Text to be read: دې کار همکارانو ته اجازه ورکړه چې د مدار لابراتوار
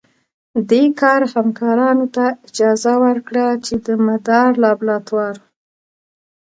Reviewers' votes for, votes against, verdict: 1, 2, rejected